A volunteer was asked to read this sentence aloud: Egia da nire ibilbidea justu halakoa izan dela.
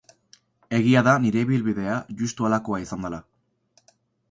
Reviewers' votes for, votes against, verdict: 2, 2, rejected